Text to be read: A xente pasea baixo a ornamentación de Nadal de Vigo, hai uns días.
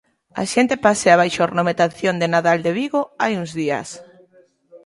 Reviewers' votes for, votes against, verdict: 1, 2, rejected